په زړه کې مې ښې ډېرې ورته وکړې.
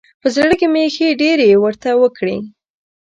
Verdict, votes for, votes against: rejected, 1, 2